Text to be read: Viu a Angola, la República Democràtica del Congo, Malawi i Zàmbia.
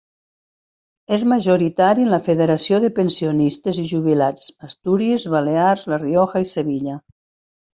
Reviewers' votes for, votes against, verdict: 1, 2, rejected